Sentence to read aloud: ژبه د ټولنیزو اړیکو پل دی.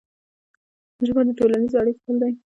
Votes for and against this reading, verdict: 2, 0, accepted